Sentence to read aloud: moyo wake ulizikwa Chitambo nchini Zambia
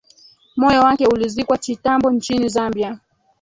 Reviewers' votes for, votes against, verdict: 3, 4, rejected